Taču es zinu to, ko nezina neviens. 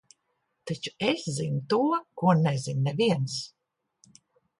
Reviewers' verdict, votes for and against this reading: accepted, 2, 1